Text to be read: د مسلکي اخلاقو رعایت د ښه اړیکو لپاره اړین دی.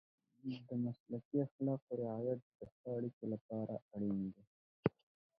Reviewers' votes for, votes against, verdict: 0, 2, rejected